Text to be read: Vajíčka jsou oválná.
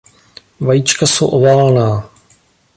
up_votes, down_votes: 2, 0